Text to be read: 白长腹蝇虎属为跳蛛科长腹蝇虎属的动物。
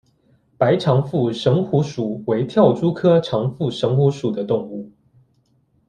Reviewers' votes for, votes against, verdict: 2, 0, accepted